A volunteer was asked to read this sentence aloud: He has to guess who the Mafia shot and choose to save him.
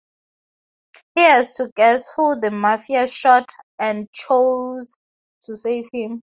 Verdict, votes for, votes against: rejected, 0, 2